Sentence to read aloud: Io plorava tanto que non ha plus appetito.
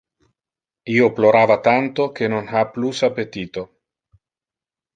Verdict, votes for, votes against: accepted, 2, 0